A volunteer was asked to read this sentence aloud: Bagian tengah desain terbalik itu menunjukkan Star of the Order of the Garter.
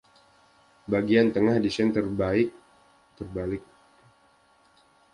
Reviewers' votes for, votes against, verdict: 0, 2, rejected